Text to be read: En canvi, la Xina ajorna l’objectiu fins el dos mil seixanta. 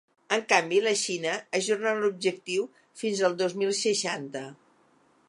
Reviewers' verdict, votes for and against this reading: accepted, 2, 0